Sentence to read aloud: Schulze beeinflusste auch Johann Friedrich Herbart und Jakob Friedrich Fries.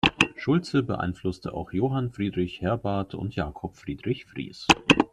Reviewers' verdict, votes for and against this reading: accepted, 2, 0